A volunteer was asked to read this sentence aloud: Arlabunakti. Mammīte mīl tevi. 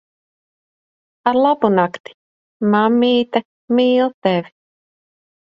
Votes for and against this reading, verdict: 2, 0, accepted